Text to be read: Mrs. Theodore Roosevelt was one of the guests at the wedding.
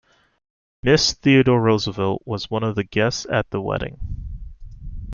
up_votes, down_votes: 1, 2